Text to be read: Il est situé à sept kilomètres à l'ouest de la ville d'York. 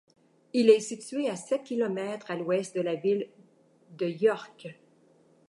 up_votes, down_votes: 1, 2